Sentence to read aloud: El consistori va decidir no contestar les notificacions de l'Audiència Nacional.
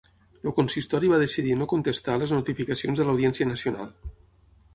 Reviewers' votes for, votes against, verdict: 3, 6, rejected